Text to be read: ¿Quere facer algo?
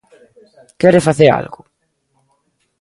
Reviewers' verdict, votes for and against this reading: accepted, 2, 1